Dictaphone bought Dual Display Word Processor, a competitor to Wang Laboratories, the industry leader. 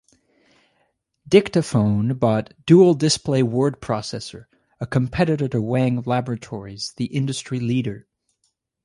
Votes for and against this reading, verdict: 2, 0, accepted